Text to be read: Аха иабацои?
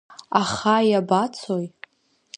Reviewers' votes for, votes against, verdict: 2, 0, accepted